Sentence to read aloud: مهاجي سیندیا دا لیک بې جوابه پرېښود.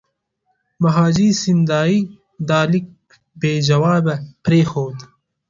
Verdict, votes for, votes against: accepted, 2, 1